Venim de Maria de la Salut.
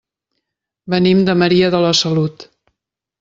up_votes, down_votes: 3, 0